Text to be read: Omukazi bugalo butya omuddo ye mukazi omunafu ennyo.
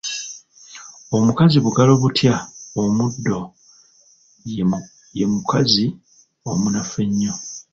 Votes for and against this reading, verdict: 2, 0, accepted